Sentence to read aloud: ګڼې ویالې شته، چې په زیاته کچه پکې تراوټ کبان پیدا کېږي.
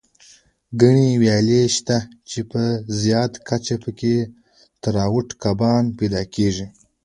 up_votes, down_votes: 2, 1